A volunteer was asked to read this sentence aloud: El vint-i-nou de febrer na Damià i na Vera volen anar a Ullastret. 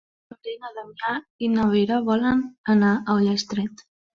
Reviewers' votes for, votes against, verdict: 0, 2, rejected